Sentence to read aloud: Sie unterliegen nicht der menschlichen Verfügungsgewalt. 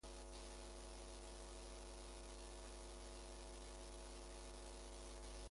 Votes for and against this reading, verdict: 0, 2, rejected